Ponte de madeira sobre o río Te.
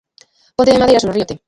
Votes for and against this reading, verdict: 0, 2, rejected